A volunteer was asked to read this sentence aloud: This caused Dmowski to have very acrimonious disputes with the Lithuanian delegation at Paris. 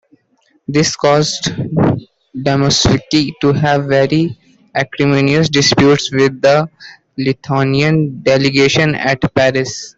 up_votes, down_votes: 0, 2